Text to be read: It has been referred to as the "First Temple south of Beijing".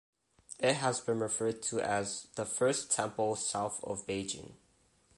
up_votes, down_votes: 2, 0